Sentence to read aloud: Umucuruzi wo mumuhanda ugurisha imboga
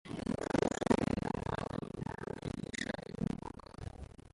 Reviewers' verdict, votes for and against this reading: rejected, 0, 2